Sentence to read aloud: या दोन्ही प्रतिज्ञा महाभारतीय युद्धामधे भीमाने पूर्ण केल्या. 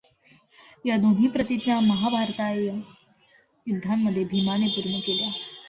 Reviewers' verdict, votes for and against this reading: rejected, 0, 2